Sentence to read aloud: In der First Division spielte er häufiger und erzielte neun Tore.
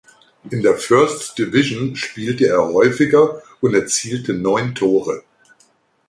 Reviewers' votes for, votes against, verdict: 2, 0, accepted